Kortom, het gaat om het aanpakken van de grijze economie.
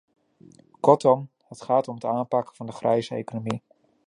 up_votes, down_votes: 3, 0